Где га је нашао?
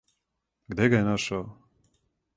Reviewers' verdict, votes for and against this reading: accepted, 4, 0